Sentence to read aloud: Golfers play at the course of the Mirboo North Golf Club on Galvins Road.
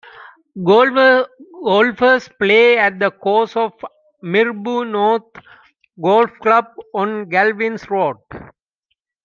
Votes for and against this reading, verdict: 0, 2, rejected